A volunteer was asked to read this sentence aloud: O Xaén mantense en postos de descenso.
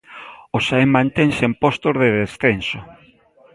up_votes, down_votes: 2, 0